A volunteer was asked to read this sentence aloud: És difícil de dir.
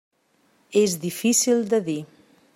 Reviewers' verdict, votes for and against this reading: accepted, 3, 0